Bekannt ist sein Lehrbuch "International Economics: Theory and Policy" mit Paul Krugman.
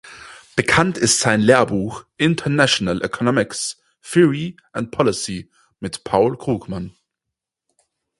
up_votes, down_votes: 4, 0